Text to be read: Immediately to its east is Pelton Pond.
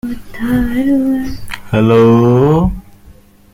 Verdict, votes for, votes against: rejected, 0, 2